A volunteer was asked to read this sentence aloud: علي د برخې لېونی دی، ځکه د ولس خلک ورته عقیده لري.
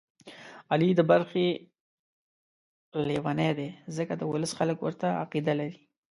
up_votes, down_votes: 3, 1